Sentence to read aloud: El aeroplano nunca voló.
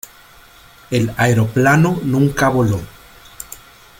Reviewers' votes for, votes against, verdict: 2, 1, accepted